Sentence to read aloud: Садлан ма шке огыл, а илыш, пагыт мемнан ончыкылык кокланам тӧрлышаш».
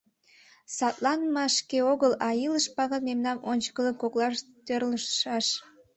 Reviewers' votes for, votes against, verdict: 1, 2, rejected